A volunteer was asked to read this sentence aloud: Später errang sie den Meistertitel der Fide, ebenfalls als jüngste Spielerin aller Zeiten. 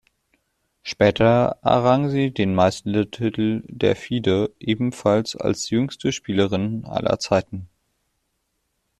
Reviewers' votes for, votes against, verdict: 0, 2, rejected